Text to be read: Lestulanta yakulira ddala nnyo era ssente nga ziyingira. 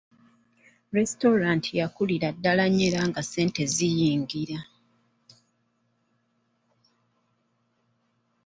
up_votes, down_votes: 0, 2